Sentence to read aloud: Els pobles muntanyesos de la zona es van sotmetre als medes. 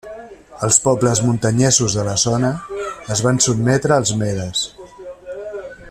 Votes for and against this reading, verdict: 3, 0, accepted